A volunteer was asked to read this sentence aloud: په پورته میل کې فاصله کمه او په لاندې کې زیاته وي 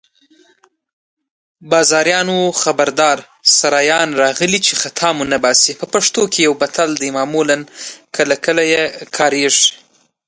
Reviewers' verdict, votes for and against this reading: rejected, 1, 2